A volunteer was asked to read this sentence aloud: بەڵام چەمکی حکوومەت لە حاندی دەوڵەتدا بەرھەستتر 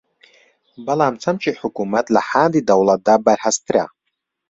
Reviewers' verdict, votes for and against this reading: accepted, 2, 1